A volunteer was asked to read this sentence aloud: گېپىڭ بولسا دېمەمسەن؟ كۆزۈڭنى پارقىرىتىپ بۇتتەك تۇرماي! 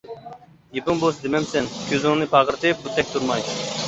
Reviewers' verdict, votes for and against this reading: rejected, 0, 2